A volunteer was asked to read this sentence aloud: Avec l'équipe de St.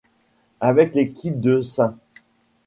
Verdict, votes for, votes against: accepted, 2, 0